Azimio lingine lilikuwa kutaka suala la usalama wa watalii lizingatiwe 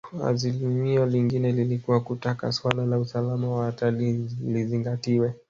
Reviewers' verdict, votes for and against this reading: rejected, 1, 2